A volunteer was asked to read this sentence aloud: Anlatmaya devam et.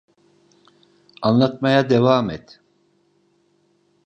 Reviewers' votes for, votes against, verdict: 2, 0, accepted